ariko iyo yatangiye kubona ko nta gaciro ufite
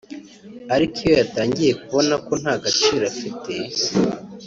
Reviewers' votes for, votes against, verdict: 1, 2, rejected